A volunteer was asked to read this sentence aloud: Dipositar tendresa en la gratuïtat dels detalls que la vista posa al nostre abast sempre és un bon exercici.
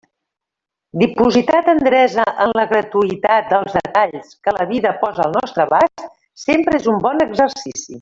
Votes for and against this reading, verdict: 0, 2, rejected